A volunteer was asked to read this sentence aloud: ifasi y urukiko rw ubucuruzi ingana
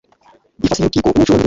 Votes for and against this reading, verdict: 1, 2, rejected